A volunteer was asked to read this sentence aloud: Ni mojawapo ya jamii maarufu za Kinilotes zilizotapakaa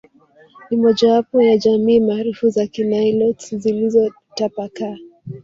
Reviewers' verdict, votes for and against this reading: rejected, 0, 2